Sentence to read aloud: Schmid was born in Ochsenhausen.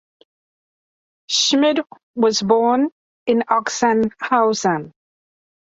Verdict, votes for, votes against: accepted, 2, 0